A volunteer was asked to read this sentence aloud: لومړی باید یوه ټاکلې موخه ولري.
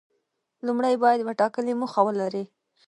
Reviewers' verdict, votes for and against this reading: rejected, 0, 2